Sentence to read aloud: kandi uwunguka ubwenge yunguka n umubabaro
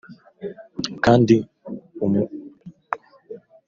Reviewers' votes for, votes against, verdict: 1, 2, rejected